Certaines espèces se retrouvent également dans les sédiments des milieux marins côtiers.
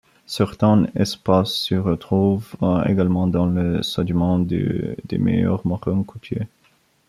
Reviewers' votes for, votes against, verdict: 2, 1, accepted